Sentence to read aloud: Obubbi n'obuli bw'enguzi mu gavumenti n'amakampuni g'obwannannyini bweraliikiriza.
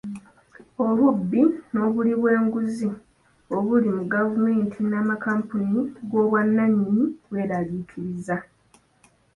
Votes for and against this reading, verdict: 1, 2, rejected